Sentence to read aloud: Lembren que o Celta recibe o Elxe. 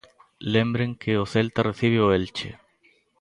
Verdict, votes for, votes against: rejected, 0, 2